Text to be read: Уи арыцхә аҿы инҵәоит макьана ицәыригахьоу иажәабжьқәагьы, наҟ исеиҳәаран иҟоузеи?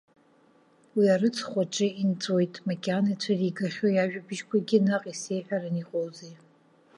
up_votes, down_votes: 2, 0